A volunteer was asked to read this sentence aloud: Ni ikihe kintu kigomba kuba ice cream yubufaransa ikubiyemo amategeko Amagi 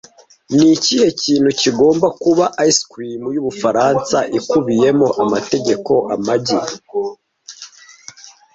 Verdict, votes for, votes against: accepted, 2, 0